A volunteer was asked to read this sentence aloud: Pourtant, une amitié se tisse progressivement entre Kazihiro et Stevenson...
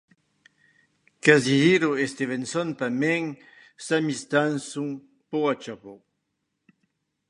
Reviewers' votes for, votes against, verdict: 1, 2, rejected